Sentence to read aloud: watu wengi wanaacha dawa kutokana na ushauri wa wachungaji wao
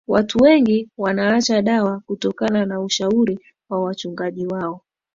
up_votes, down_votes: 2, 1